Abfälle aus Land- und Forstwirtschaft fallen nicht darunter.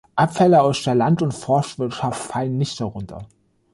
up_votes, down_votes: 1, 2